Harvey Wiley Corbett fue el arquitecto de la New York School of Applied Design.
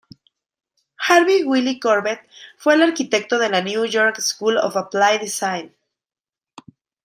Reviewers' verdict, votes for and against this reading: rejected, 1, 2